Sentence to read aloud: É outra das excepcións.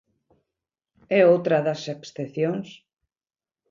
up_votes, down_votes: 2, 1